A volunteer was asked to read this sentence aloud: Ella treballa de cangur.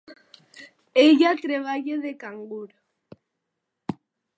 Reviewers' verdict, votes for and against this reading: accepted, 3, 0